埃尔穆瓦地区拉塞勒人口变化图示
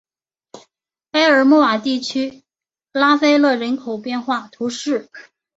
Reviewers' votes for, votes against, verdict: 2, 0, accepted